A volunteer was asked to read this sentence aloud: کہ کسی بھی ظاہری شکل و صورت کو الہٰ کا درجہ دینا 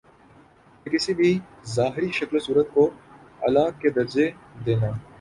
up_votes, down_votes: 2, 3